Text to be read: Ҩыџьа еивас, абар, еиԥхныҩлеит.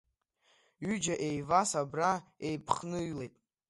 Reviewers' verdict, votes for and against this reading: rejected, 1, 2